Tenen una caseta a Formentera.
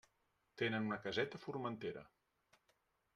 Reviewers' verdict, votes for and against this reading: accepted, 2, 0